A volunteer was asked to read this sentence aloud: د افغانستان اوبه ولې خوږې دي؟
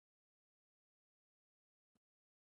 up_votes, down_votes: 1, 2